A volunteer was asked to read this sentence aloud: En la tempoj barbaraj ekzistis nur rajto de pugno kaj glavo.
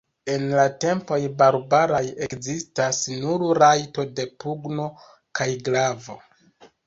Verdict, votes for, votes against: rejected, 1, 2